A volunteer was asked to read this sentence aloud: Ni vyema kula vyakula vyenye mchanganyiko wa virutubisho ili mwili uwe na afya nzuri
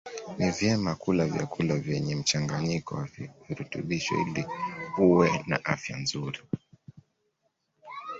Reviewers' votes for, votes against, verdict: 1, 2, rejected